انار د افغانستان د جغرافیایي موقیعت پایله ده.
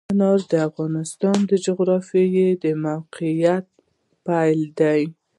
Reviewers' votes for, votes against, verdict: 2, 0, accepted